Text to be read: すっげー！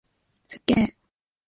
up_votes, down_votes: 2, 0